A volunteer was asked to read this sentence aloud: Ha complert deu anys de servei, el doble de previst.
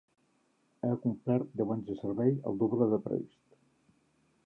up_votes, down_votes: 0, 2